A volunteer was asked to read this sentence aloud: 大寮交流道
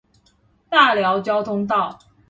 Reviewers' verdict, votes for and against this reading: rejected, 1, 2